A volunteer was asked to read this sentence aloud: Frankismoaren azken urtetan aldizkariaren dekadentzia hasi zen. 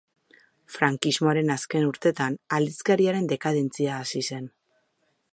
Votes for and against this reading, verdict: 2, 0, accepted